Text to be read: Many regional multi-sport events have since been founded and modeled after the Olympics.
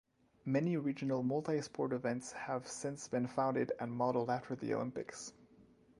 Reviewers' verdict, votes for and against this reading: accepted, 2, 0